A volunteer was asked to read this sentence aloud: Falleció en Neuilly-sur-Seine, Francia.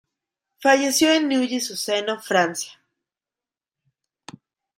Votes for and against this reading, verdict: 0, 2, rejected